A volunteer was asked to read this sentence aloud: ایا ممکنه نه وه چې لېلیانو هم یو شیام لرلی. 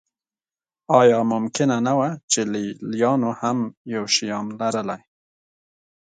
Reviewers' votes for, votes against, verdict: 2, 0, accepted